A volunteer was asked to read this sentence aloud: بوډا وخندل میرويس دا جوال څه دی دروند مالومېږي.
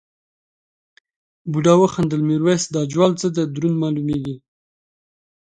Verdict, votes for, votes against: accepted, 2, 0